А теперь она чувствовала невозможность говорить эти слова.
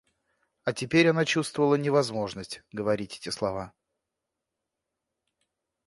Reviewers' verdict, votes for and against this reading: accepted, 2, 0